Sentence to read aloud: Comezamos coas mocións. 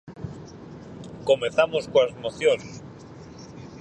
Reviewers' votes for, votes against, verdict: 4, 0, accepted